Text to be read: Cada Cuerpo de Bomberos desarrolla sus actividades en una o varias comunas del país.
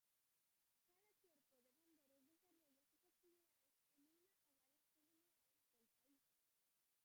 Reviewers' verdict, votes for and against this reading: rejected, 0, 2